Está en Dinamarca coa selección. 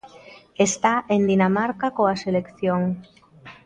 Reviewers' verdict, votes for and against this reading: accepted, 3, 0